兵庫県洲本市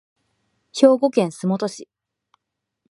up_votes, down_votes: 2, 0